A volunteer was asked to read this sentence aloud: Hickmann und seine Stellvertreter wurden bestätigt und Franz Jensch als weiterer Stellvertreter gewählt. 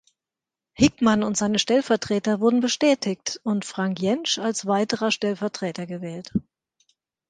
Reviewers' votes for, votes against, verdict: 1, 2, rejected